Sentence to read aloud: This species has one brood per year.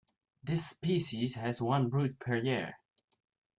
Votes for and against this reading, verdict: 2, 0, accepted